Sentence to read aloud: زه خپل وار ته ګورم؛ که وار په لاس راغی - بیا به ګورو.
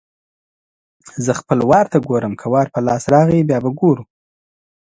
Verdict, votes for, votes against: accepted, 2, 0